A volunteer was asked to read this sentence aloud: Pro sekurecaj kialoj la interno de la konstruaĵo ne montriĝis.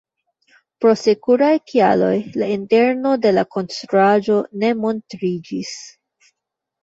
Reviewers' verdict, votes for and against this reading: rejected, 1, 2